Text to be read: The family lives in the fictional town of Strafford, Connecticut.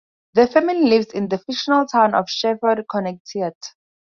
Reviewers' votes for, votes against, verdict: 2, 2, rejected